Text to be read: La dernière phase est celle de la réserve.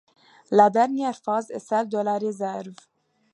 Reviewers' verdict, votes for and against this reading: accepted, 2, 0